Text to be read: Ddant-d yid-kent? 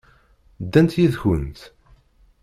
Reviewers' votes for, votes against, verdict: 1, 2, rejected